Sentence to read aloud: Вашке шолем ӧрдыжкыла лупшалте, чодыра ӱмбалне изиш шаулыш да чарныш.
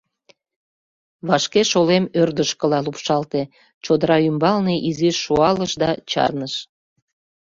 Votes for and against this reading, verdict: 0, 2, rejected